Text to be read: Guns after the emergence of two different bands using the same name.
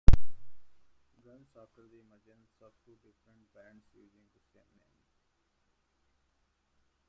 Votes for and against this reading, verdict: 0, 2, rejected